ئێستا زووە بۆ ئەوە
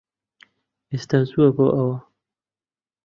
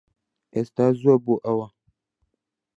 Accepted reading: second